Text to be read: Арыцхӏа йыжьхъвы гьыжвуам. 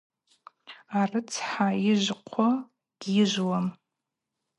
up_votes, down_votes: 2, 2